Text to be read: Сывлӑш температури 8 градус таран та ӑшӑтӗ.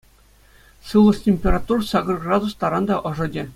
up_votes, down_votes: 0, 2